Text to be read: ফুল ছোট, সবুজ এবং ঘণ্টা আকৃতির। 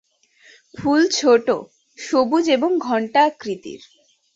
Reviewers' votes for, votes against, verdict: 2, 0, accepted